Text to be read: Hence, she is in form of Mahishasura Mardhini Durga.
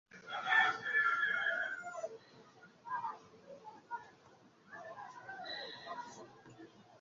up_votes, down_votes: 0, 2